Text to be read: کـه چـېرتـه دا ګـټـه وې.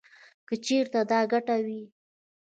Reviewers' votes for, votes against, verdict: 1, 2, rejected